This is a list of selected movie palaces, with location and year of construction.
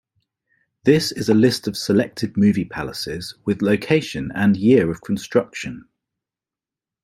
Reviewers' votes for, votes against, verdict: 2, 0, accepted